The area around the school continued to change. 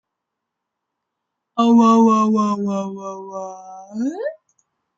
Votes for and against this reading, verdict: 0, 2, rejected